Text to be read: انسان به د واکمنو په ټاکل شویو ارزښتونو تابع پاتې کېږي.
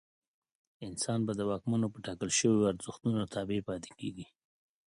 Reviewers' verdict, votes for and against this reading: accepted, 2, 0